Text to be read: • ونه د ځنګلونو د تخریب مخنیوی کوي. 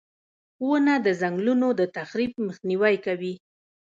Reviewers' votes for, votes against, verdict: 1, 2, rejected